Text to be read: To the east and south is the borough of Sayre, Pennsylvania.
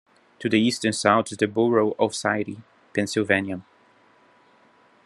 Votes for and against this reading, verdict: 2, 0, accepted